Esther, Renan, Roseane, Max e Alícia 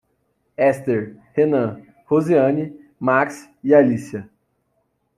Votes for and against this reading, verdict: 0, 2, rejected